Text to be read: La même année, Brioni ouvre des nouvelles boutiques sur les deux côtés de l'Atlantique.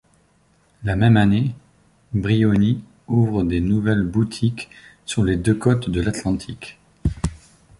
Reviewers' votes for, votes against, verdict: 0, 2, rejected